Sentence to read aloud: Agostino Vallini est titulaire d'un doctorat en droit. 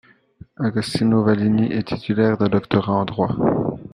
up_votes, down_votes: 2, 1